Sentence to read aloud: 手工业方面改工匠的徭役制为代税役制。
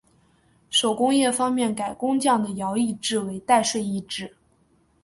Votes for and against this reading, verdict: 4, 0, accepted